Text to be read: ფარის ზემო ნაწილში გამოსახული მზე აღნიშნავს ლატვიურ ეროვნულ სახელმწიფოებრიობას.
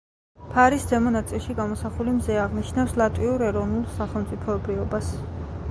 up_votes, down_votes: 1, 2